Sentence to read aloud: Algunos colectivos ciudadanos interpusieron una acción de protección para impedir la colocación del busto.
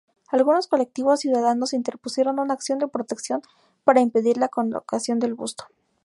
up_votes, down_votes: 2, 0